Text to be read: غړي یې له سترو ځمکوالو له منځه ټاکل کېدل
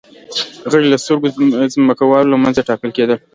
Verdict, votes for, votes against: accepted, 2, 0